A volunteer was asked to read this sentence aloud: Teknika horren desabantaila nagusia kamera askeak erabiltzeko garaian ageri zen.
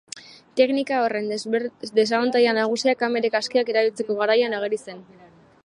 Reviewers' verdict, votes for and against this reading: rejected, 1, 2